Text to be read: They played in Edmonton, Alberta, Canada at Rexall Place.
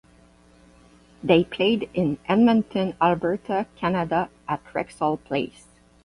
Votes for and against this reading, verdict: 4, 4, rejected